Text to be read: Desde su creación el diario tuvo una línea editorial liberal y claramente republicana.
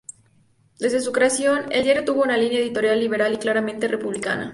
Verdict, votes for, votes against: accepted, 2, 0